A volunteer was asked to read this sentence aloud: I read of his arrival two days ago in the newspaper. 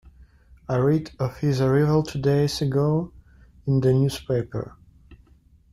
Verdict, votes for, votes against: rejected, 1, 2